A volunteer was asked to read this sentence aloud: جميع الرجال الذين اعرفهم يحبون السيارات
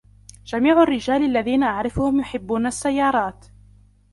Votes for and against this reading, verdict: 1, 2, rejected